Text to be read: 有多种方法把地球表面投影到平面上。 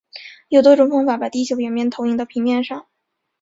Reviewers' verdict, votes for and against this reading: accepted, 2, 0